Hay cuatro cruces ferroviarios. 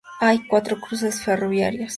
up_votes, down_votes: 2, 0